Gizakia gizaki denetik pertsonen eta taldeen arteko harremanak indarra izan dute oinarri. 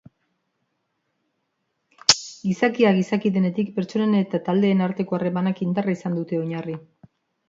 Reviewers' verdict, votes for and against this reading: accepted, 3, 0